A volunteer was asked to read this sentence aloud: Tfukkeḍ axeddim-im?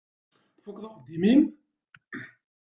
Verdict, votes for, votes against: rejected, 1, 2